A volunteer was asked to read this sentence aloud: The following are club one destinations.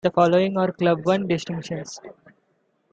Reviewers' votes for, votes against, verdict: 2, 1, accepted